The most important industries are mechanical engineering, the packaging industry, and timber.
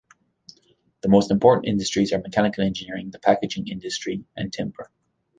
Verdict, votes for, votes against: accepted, 2, 1